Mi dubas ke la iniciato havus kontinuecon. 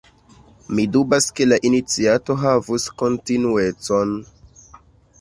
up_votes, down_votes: 1, 2